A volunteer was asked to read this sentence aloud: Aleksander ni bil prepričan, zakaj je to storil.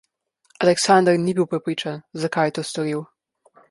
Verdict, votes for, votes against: rejected, 1, 2